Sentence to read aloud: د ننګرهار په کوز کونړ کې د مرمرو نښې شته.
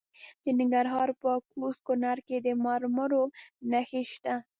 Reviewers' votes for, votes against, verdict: 1, 2, rejected